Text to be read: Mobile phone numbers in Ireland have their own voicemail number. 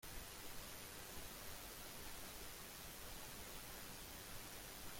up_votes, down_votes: 0, 2